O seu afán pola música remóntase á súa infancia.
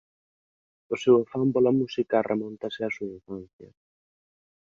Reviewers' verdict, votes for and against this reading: rejected, 0, 2